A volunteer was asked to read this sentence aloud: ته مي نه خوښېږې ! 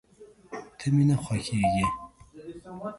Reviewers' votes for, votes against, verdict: 1, 3, rejected